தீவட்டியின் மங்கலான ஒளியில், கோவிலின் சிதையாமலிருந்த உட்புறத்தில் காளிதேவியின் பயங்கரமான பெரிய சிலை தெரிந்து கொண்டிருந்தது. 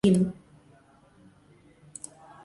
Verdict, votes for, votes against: rejected, 0, 2